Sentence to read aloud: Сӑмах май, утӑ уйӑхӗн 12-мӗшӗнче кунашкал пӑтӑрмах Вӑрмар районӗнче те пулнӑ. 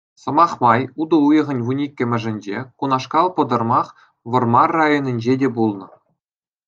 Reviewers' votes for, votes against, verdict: 0, 2, rejected